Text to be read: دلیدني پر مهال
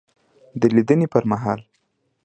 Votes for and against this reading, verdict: 3, 0, accepted